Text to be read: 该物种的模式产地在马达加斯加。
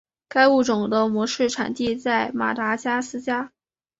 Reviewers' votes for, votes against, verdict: 2, 0, accepted